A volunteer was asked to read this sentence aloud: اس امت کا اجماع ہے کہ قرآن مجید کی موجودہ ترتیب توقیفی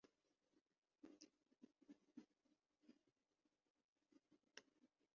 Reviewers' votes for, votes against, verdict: 3, 7, rejected